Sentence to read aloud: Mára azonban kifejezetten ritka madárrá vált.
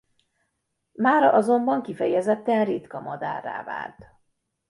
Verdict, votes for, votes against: accepted, 2, 0